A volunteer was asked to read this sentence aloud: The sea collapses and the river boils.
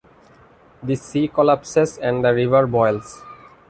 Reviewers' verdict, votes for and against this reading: accepted, 2, 0